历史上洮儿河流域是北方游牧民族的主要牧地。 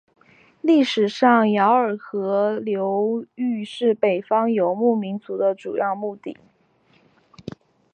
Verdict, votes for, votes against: rejected, 1, 2